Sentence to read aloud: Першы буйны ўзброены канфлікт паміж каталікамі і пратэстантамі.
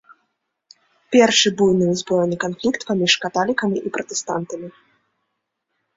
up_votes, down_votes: 1, 2